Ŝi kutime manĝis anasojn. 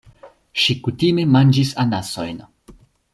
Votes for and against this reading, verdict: 2, 0, accepted